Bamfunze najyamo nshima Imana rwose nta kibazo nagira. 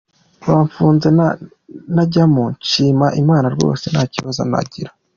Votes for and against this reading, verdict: 2, 0, accepted